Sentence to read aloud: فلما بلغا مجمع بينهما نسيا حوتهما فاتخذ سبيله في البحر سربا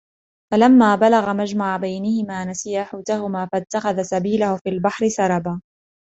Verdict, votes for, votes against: accepted, 2, 0